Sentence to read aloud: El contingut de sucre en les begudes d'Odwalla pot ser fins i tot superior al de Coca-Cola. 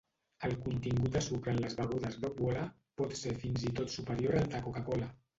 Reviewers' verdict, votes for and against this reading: rejected, 0, 2